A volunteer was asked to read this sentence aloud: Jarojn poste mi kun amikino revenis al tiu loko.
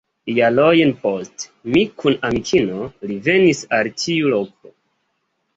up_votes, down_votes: 2, 1